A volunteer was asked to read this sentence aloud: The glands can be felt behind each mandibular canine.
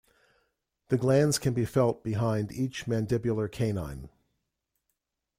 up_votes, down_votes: 2, 0